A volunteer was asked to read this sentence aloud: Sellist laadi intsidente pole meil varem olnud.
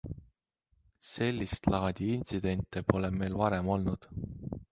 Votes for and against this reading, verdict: 2, 0, accepted